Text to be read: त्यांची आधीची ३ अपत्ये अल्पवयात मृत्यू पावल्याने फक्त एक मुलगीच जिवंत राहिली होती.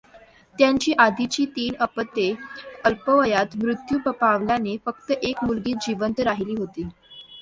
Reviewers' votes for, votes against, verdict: 0, 2, rejected